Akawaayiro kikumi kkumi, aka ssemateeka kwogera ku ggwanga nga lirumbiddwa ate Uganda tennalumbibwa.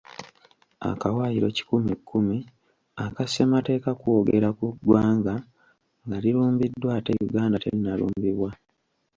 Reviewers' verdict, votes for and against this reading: rejected, 1, 2